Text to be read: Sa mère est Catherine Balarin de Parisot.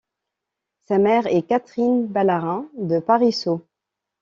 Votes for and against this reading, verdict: 2, 1, accepted